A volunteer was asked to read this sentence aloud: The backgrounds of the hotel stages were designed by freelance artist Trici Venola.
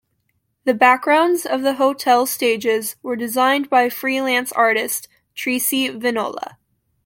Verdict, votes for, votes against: accepted, 2, 0